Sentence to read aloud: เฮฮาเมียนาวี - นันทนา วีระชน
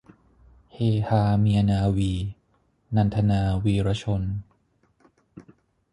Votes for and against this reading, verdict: 6, 0, accepted